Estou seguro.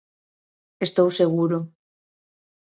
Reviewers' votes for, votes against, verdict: 2, 0, accepted